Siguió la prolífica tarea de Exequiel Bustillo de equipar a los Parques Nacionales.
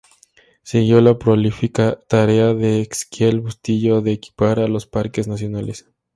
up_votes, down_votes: 2, 0